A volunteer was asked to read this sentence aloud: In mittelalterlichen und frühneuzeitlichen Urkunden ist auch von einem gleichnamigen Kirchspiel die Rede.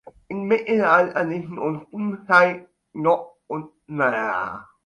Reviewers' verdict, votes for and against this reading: rejected, 0, 2